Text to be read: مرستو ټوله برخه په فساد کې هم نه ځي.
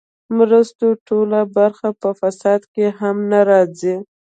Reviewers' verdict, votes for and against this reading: rejected, 0, 2